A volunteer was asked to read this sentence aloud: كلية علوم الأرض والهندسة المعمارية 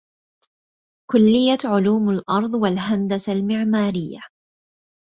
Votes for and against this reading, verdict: 2, 1, accepted